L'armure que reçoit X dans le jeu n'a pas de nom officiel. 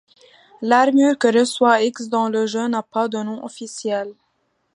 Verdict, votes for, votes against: accepted, 2, 0